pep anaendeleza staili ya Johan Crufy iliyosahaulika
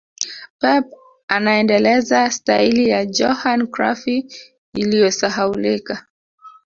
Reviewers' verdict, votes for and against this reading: rejected, 1, 2